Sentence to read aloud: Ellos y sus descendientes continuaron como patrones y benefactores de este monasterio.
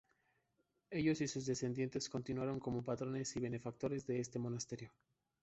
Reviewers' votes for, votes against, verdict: 2, 0, accepted